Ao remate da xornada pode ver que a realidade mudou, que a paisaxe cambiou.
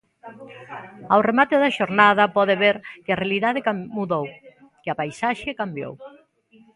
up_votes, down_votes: 0, 2